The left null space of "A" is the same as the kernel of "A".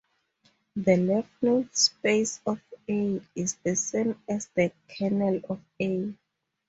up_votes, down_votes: 2, 0